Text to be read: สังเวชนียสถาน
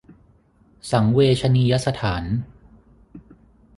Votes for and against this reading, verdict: 6, 0, accepted